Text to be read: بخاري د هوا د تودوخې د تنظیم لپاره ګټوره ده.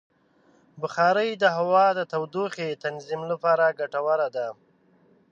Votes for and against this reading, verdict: 1, 2, rejected